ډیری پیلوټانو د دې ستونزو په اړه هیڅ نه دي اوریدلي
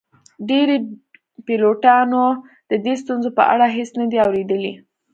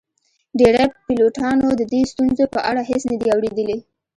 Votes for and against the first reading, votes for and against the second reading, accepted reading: 1, 2, 2, 0, second